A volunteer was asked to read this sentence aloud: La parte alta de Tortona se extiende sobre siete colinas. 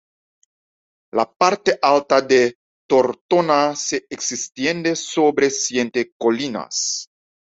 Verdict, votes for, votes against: rejected, 1, 2